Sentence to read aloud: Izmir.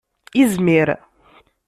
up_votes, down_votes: 2, 0